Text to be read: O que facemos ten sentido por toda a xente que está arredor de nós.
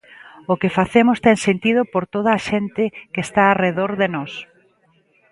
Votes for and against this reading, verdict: 2, 0, accepted